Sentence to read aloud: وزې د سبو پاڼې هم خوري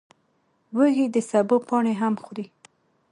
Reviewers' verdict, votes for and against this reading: rejected, 1, 2